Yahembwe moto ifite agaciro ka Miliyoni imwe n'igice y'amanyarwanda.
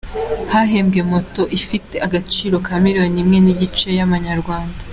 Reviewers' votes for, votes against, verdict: 2, 0, accepted